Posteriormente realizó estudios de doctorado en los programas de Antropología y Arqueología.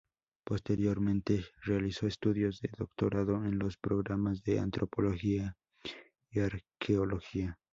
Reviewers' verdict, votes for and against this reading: rejected, 0, 2